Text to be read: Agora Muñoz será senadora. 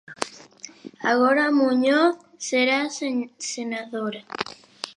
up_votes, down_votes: 0, 2